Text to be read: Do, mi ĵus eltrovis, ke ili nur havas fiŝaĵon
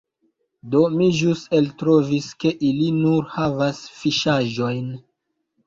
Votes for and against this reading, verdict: 0, 2, rejected